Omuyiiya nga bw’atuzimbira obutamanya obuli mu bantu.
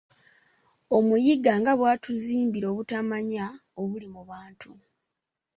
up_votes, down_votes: 1, 2